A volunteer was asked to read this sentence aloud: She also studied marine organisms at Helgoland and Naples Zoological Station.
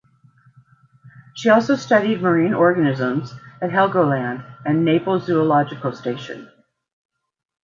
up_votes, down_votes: 2, 0